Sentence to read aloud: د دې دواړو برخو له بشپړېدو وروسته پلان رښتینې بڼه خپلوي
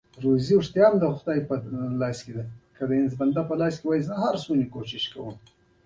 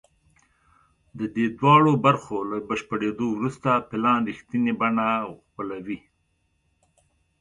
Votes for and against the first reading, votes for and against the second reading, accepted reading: 1, 2, 2, 0, second